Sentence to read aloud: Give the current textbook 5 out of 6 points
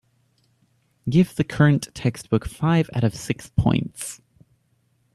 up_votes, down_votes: 0, 2